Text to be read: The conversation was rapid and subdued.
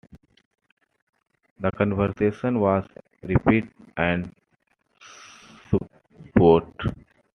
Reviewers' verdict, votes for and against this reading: rejected, 0, 2